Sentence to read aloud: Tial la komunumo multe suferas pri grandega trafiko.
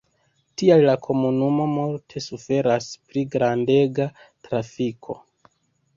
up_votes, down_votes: 2, 0